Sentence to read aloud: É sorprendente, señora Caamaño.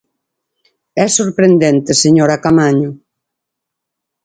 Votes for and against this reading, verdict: 4, 0, accepted